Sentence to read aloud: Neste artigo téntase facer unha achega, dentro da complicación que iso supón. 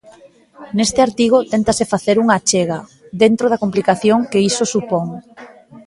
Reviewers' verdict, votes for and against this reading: accepted, 2, 0